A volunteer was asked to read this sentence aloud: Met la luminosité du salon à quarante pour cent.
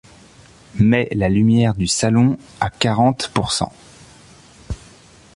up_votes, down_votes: 0, 2